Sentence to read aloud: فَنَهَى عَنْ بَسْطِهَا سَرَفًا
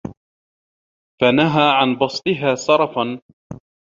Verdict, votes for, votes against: accepted, 2, 0